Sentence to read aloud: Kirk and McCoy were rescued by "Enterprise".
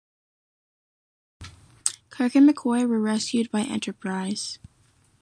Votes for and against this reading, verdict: 0, 2, rejected